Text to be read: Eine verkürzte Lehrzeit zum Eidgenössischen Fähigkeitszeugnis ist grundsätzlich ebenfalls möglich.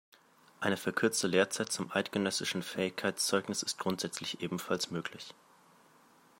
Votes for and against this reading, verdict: 2, 1, accepted